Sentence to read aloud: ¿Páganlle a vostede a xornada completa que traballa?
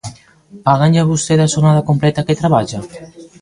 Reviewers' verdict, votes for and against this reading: rejected, 0, 2